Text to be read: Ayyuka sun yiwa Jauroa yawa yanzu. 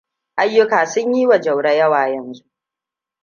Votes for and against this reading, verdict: 2, 0, accepted